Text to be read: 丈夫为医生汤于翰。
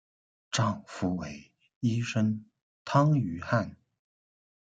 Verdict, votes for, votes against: accepted, 2, 0